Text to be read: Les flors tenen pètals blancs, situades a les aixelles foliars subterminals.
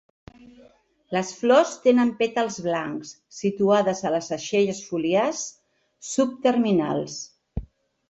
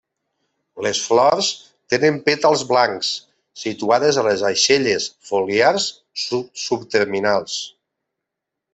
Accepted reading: first